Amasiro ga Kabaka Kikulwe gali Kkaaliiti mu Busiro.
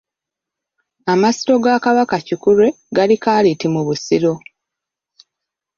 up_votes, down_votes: 2, 0